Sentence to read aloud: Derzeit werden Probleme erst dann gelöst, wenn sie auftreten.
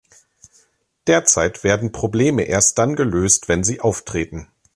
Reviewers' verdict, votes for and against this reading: accepted, 2, 0